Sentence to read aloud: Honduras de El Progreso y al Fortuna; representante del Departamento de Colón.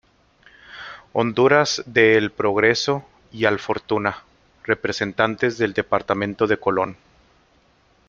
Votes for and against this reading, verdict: 2, 1, accepted